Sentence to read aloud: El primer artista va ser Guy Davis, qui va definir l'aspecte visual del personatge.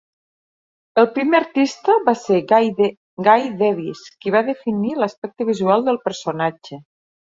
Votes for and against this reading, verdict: 0, 2, rejected